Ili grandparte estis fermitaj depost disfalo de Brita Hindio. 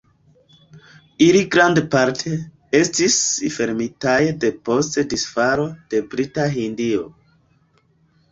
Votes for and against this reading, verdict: 0, 2, rejected